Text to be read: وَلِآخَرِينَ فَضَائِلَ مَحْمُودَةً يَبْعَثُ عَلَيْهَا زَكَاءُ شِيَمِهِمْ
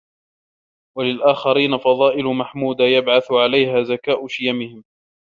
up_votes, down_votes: 0, 3